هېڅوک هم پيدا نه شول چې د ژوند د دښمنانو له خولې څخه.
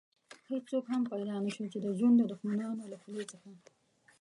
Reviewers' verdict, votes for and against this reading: rejected, 0, 2